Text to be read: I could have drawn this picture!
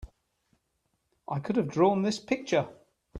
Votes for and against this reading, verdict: 3, 1, accepted